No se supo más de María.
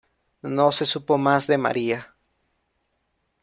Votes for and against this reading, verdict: 2, 0, accepted